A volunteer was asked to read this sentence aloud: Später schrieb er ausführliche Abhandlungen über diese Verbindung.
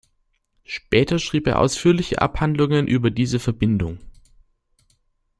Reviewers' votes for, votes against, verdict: 2, 0, accepted